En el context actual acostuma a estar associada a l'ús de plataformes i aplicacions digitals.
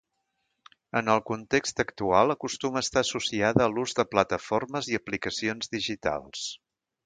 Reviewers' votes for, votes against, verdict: 2, 0, accepted